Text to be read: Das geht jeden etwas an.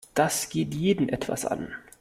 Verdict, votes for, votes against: accepted, 2, 0